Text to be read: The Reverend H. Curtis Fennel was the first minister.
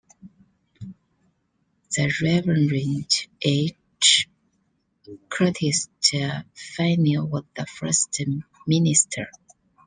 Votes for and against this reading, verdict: 0, 2, rejected